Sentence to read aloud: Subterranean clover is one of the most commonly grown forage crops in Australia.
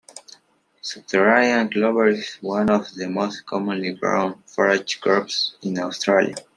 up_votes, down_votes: 1, 2